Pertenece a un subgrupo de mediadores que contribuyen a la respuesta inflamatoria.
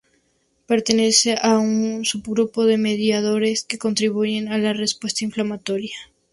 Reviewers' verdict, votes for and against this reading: accepted, 4, 0